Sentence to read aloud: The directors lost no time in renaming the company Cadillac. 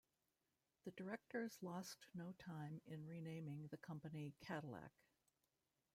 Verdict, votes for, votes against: rejected, 1, 2